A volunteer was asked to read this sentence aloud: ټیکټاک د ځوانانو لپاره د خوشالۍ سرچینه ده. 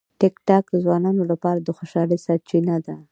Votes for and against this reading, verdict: 3, 0, accepted